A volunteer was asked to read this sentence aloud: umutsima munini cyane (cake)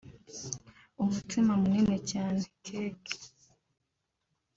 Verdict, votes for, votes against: accepted, 2, 0